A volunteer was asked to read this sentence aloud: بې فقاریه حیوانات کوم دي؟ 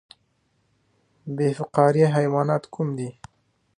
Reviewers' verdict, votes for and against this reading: rejected, 0, 2